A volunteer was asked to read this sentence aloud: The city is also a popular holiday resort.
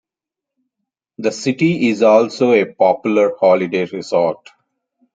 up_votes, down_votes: 2, 1